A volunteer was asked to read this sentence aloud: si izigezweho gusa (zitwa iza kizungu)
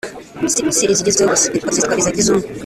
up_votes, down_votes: 0, 2